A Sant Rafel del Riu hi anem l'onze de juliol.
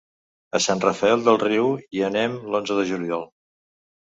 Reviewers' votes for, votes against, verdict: 3, 0, accepted